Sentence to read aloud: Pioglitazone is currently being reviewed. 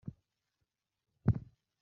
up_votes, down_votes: 0, 2